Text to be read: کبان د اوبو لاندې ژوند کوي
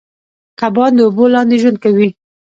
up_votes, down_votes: 1, 2